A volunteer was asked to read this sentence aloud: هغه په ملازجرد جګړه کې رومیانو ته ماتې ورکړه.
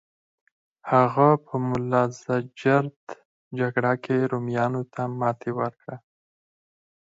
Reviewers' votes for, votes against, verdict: 2, 4, rejected